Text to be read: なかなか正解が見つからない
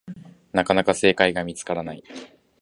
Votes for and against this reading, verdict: 2, 0, accepted